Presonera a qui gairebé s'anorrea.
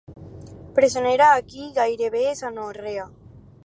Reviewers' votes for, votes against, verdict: 4, 0, accepted